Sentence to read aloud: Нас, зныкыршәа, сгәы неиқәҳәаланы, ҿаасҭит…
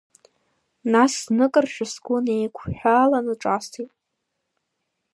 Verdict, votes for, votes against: rejected, 1, 2